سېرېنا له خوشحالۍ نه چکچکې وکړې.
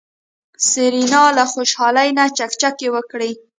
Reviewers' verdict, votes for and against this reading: rejected, 1, 2